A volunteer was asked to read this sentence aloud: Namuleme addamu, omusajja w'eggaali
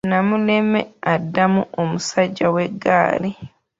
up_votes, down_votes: 2, 0